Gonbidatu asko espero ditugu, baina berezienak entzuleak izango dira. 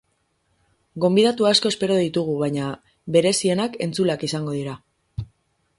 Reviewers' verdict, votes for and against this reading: accepted, 6, 0